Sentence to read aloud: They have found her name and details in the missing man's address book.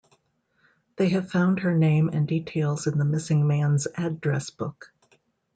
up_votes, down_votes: 2, 0